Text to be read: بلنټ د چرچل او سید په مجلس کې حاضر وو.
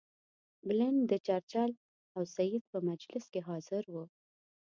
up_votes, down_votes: 2, 0